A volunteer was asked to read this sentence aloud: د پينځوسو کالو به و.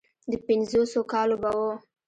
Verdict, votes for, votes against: rejected, 1, 2